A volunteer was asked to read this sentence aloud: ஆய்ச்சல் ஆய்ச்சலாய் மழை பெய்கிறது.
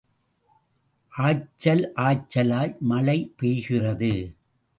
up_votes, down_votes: 2, 0